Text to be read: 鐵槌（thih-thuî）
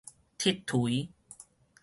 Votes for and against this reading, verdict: 0, 4, rejected